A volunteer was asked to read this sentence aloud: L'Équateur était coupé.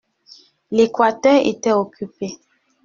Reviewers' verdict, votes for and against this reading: rejected, 0, 2